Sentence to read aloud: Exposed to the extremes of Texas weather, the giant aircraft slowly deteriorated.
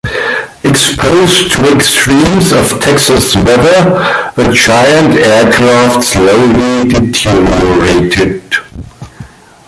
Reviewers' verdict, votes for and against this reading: rejected, 0, 2